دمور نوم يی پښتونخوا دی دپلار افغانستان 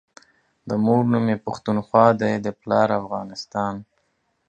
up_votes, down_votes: 2, 1